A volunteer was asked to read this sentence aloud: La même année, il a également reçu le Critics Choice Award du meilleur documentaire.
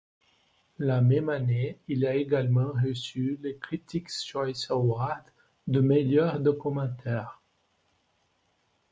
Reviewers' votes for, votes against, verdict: 1, 2, rejected